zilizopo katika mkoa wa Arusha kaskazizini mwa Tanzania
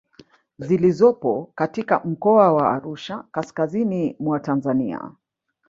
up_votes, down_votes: 1, 2